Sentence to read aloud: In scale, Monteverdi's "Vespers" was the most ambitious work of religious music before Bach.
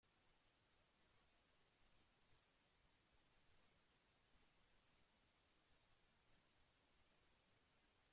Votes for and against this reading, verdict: 0, 2, rejected